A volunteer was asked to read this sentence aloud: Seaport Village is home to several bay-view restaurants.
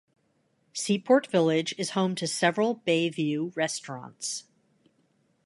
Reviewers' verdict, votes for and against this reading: accepted, 2, 0